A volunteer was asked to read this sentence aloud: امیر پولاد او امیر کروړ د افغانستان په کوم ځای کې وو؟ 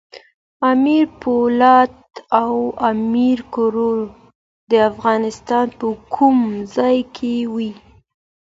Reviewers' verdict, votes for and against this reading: accepted, 2, 0